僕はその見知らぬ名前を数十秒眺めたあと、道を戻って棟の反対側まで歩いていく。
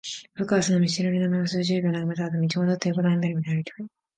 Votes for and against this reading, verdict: 0, 2, rejected